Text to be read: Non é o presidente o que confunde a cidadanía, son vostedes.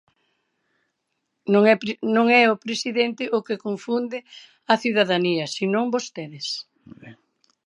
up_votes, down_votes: 0, 2